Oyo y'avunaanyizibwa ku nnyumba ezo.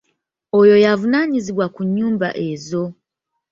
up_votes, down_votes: 2, 0